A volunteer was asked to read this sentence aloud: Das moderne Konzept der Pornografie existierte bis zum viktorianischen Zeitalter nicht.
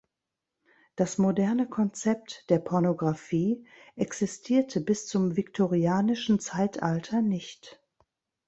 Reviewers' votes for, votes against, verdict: 3, 1, accepted